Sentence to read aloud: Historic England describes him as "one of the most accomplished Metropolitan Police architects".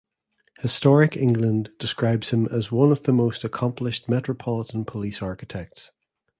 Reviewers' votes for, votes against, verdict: 2, 0, accepted